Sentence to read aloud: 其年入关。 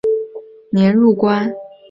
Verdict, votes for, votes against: rejected, 1, 2